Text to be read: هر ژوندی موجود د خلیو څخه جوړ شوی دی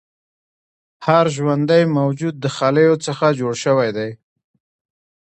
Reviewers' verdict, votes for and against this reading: accepted, 2, 1